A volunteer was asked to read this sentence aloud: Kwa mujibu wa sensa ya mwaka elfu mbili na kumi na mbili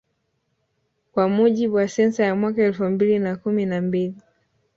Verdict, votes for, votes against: rejected, 1, 2